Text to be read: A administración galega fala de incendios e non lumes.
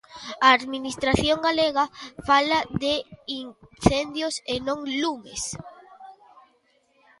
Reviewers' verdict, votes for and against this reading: rejected, 0, 2